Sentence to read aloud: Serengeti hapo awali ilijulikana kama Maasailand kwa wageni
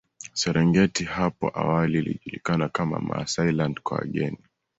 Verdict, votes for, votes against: accepted, 2, 0